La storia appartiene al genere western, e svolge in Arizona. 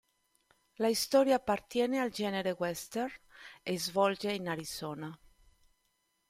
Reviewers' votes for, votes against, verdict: 1, 2, rejected